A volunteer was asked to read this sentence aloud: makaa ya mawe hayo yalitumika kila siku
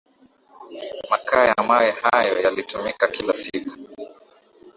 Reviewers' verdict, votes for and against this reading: accepted, 3, 0